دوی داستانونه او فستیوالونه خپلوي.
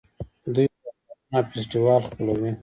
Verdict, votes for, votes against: rejected, 0, 2